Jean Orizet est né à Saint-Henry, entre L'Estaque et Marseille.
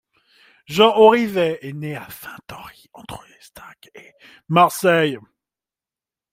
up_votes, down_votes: 2, 1